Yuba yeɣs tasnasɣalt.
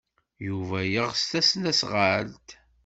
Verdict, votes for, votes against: accepted, 2, 0